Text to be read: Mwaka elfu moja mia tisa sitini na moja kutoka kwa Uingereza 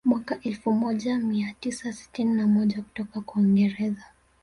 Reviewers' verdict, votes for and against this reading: accepted, 2, 0